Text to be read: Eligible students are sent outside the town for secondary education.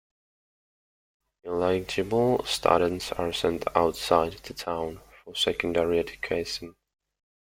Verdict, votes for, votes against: rejected, 0, 2